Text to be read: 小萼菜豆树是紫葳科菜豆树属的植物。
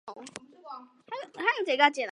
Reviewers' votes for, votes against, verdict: 0, 2, rejected